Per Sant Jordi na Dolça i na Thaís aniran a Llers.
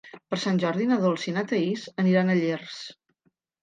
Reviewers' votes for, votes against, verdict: 2, 0, accepted